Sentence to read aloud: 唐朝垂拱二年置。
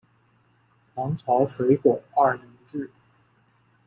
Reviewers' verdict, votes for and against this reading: accepted, 2, 0